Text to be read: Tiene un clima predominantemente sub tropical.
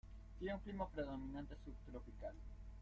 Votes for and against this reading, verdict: 0, 2, rejected